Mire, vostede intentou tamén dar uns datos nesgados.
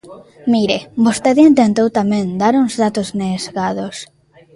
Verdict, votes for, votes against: rejected, 0, 2